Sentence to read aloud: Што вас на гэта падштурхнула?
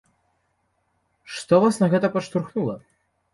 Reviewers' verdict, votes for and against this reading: accepted, 2, 0